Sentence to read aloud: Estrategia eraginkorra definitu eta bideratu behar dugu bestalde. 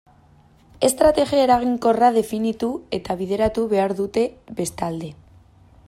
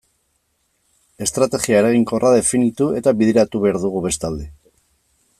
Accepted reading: second